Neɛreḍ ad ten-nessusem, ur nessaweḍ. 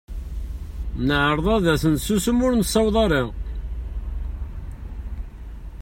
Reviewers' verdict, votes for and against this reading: rejected, 0, 2